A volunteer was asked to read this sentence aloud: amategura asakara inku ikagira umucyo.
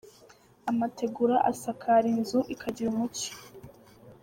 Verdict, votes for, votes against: rejected, 1, 2